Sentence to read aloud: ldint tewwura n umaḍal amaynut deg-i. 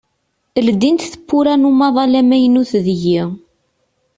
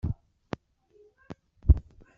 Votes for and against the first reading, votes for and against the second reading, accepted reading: 2, 0, 0, 2, first